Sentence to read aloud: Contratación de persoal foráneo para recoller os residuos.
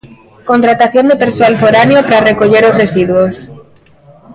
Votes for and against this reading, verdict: 2, 0, accepted